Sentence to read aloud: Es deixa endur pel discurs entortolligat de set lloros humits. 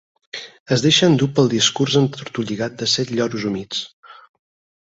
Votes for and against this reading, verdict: 4, 0, accepted